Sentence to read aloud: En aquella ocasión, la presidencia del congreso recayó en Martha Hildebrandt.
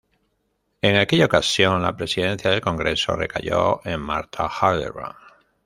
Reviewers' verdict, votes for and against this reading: rejected, 1, 2